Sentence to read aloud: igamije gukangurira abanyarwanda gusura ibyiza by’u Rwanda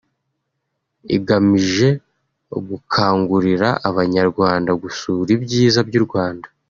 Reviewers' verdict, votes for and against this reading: accepted, 2, 0